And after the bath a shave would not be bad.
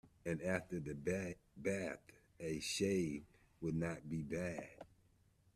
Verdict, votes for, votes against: rejected, 1, 2